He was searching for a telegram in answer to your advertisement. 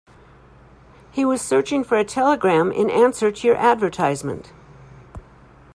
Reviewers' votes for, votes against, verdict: 2, 0, accepted